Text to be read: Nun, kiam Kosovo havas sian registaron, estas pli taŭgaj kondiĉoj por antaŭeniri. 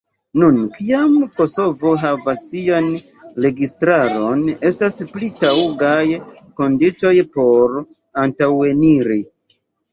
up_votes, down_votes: 0, 2